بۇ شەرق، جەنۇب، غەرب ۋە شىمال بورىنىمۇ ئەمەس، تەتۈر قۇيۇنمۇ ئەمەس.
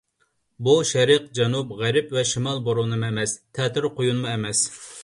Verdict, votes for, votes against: accepted, 2, 0